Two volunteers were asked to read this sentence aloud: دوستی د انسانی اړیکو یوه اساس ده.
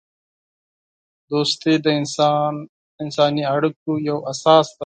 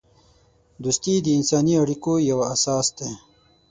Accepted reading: second